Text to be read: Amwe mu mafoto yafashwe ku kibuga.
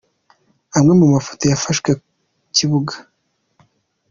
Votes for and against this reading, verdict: 2, 0, accepted